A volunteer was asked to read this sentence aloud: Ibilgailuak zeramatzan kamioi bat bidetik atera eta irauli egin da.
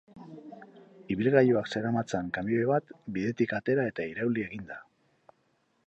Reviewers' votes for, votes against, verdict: 2, 0, accepted